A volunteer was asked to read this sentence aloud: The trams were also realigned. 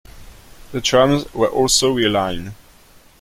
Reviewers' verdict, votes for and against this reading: rejected, 0, 2